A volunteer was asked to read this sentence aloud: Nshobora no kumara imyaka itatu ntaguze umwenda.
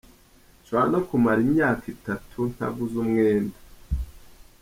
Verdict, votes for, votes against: accepted, 2, 0